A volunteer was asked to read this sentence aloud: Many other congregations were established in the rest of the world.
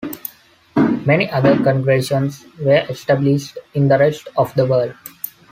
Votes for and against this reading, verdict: 0, 2, rejected